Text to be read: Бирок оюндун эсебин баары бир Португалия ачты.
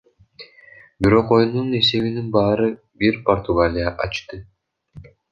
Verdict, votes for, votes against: rejected, 1, 2